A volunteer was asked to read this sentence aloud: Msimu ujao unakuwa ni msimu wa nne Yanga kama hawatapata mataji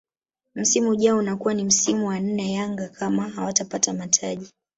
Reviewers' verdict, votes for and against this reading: accepted, 2, 0